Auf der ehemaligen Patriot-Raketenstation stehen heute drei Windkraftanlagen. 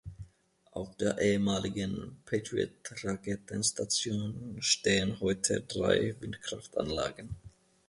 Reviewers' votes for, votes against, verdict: 2, 0, accepted